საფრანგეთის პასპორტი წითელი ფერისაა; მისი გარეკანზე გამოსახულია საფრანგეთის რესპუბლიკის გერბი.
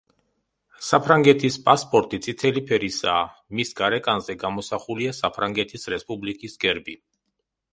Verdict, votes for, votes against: rejected, 1, 2